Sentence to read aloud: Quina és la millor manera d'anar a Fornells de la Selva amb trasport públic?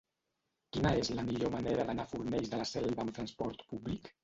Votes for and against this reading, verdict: 1, 2, rejected